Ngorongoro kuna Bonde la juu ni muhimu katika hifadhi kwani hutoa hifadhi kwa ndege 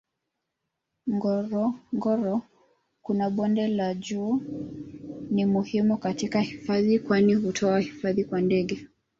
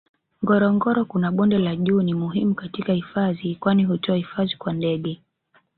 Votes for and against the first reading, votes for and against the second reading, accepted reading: 0, 2, 3, 1, second